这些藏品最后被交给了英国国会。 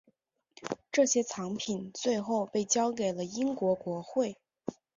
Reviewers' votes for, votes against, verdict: 9, 0, accepted